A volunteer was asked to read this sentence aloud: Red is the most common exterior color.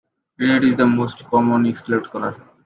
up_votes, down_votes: 0, 2